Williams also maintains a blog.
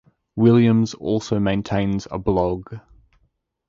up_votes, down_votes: 2, 0